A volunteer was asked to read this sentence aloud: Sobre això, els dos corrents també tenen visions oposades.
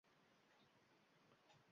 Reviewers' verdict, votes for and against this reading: rejected, 0, 2